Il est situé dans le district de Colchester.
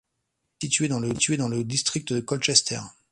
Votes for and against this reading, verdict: 0, 2, rejected